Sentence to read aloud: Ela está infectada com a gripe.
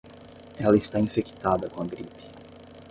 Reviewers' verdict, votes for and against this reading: accepted, 10, 0